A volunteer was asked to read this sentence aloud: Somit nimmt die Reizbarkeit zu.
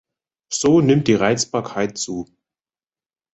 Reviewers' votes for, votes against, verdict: 0, 2, rejected